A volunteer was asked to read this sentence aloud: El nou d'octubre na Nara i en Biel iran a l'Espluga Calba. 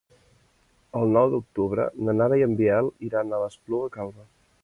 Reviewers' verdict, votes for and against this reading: accepted, 2, 1